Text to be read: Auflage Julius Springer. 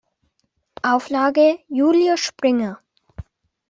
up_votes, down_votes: 2, 0